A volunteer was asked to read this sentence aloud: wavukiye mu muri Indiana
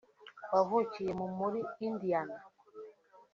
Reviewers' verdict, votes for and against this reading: accepted, 2, 0